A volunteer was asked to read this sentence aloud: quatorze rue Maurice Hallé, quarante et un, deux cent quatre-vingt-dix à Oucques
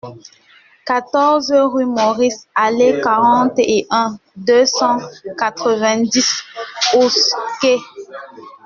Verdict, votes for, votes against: rejected, 1, 2